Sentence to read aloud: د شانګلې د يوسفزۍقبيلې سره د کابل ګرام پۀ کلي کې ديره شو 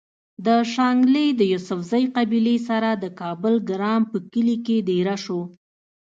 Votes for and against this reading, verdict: 2, 0, accepted